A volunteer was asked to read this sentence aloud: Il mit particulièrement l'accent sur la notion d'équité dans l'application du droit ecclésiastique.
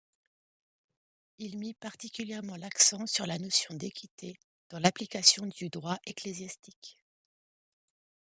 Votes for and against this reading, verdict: 2, 0, accepted